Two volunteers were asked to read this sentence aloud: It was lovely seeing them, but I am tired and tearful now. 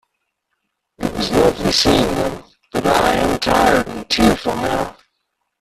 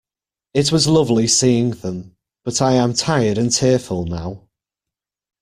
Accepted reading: second